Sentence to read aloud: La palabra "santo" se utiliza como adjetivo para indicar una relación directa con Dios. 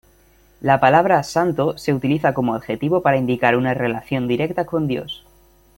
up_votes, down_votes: 2, 0